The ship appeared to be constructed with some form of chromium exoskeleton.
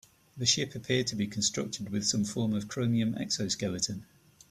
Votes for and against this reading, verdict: 3, 0, accepted